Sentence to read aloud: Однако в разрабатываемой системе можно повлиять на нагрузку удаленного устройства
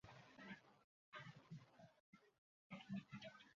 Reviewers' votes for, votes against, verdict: 0, 2, rejected